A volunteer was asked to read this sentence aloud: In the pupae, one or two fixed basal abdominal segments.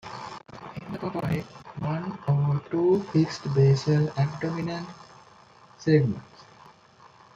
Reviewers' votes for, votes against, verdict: 0, 2, rejected